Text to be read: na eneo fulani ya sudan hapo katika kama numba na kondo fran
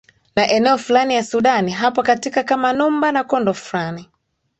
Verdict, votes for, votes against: accepted, 2, 1